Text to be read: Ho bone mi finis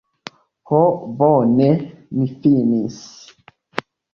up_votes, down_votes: 2, 0